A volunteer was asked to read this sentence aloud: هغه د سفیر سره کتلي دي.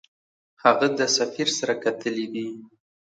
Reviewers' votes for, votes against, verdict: 2, 0, accepted